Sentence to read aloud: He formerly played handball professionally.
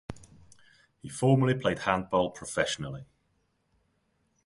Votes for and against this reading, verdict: 2, 0, accepted